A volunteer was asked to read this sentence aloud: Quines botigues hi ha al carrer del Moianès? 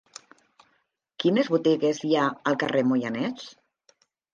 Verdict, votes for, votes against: rejected, 0, 2